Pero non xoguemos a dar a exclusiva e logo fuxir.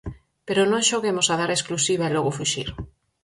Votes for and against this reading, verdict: 4, 0, accepted